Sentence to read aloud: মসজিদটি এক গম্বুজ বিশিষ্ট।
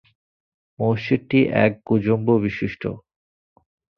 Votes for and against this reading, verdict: 0, 2, rejected